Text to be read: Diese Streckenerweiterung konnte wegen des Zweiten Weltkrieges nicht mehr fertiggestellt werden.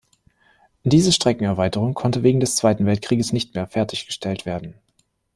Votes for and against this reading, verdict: 2, 0, accepted